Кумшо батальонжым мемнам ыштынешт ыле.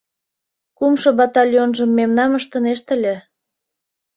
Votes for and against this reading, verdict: 2, 0, accepted